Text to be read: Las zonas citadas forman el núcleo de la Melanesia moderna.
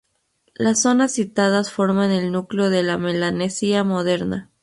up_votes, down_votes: 2, 0